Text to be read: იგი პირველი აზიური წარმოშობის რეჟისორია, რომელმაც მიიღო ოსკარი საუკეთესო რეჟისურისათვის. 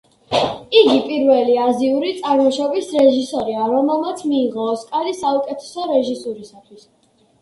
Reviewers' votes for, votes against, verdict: 2, 0, accepted